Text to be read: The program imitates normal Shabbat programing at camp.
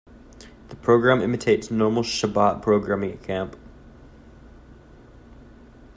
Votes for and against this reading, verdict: 2, 0, accepted